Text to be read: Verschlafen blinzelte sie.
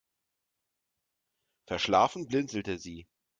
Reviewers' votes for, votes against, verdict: 2, 0, accepted